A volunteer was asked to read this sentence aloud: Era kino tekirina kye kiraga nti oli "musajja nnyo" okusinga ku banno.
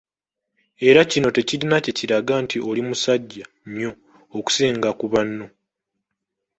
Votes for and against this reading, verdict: 2, 0, accepted